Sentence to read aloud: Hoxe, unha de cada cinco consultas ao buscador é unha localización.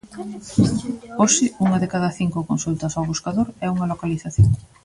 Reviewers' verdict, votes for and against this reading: rejected, 1, 2